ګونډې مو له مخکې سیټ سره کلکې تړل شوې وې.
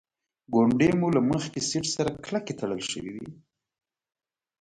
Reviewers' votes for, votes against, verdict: 0, 2, rejected